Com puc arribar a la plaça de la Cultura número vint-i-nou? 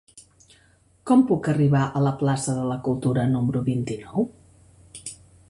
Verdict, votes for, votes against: accepted, 2, 0